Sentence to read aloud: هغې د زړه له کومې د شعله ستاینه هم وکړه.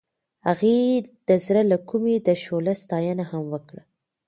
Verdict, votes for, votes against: accepted, 2, 0